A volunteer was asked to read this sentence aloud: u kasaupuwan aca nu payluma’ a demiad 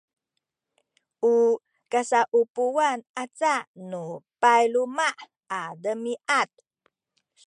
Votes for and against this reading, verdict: 2, 0, accepted